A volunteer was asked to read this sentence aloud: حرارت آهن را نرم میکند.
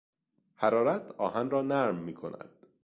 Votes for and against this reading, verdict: 2, 0, accepted